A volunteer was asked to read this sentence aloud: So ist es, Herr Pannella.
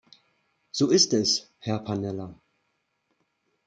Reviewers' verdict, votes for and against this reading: accepted, 2, 0